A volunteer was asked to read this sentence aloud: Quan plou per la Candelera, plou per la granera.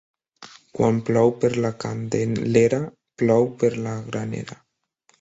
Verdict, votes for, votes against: rejected, 1, 3